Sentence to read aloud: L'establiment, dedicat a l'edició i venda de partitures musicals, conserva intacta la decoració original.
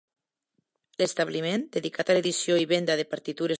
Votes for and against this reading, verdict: 0, 2, rejected